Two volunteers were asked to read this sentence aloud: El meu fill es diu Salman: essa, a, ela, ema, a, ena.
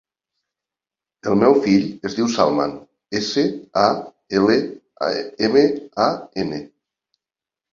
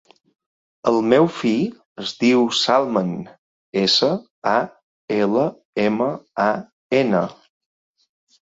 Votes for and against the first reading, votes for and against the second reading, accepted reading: 1, 2, 3, 0, second